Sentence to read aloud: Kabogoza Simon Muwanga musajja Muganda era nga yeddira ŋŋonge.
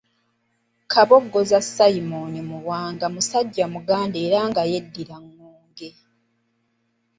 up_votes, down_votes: 2, 0